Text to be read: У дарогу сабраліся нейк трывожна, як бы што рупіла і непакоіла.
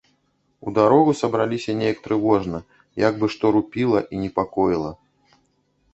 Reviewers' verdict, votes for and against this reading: rejected, 1, 2